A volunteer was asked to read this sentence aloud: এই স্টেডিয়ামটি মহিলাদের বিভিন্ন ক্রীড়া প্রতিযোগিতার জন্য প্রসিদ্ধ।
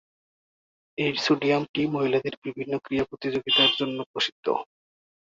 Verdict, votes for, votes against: rejected, 1, 2